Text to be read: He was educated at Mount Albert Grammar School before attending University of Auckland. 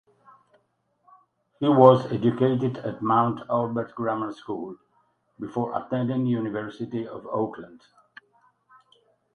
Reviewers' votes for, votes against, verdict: 4, 0, accepted